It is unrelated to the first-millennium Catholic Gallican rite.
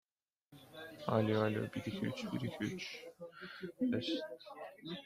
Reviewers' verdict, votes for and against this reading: rejected, 1, 2